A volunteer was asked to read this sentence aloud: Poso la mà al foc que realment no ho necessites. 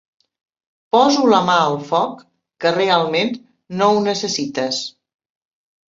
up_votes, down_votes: 3, 0